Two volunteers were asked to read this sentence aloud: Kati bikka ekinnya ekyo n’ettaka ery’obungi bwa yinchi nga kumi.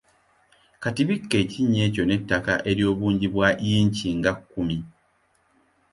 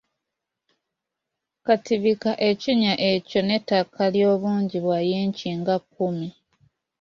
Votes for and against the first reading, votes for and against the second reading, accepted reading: 2, 0, 1, 2, first